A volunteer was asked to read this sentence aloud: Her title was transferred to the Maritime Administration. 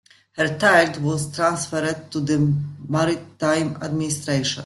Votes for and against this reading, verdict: 1, 2, rejected